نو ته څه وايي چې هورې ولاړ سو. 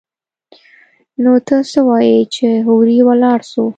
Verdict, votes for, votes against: accepted, 2, 0